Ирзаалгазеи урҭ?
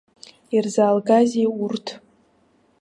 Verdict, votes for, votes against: accepted, 2, 0